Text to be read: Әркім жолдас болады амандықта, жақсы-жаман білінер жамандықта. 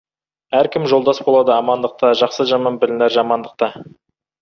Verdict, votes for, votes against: accepted, 2, 0